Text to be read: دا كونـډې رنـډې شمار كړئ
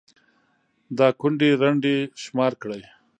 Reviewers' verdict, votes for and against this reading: rejected, 0, 2